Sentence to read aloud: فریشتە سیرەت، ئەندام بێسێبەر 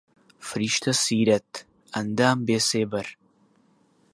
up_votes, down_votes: 2, 0